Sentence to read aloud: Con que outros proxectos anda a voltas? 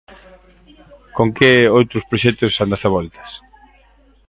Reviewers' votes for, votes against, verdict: 1, 2, rejected